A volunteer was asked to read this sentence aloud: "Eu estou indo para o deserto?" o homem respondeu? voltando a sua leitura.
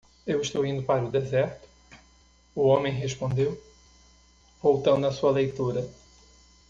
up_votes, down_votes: 1, 2